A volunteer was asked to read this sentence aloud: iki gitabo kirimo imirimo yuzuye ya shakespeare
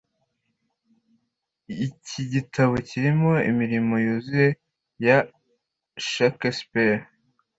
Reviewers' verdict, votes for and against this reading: accepted, 2, 0